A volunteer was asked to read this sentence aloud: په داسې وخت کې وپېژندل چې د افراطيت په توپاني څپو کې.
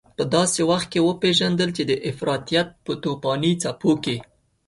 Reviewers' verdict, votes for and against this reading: accepted, 2, 0